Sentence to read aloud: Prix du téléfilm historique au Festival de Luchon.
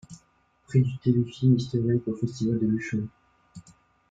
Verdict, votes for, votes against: rejected, 0, 2